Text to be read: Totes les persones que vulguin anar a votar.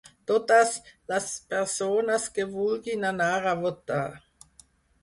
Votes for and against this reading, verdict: 4, 0, accepted